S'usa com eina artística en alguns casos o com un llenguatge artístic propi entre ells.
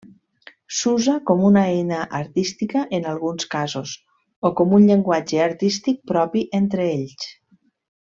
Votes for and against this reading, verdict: 1, 2, rejected